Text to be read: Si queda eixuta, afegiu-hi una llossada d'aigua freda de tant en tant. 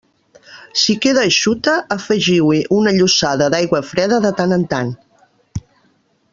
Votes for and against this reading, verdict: 2, 0, accepted